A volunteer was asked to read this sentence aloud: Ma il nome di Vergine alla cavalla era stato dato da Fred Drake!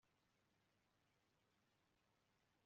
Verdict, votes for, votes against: rejected, 0, 2